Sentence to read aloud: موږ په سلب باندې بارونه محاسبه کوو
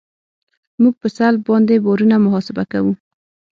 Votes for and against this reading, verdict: 6, 0, accepted